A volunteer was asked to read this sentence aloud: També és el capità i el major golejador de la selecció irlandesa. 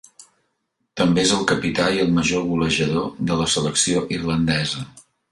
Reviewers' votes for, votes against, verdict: 3, 1, accepted